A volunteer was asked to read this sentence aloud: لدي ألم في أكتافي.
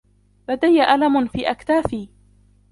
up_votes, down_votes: 1, 2